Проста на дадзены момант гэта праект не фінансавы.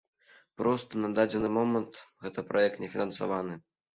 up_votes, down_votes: 1, 2